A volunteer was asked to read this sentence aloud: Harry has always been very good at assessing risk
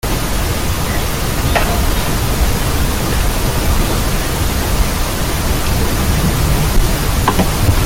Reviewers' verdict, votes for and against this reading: rejected, 0, 2